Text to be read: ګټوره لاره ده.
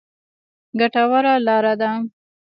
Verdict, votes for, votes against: rejected, 1, 2